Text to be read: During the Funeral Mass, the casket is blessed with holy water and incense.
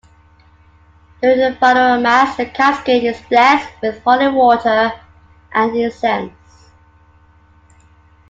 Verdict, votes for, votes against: accepted, 2, 0